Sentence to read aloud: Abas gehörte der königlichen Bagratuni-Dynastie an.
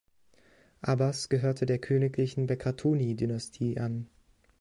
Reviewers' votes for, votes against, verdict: 1, 2, rejected